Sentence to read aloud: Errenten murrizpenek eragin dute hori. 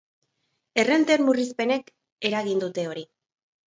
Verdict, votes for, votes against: accepted, 2, 0